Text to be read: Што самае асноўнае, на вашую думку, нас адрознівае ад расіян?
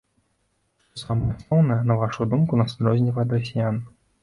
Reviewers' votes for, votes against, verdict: 1, 2, rejected